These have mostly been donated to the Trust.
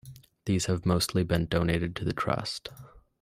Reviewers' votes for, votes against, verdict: 2, 0, accepted